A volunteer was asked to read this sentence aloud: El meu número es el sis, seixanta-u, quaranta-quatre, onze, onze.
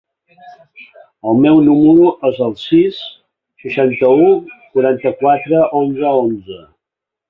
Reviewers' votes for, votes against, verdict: 5, 1, accepted